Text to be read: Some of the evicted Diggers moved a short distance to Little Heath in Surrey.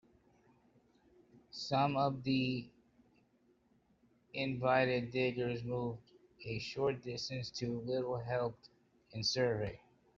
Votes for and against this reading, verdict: 0, 2, rejected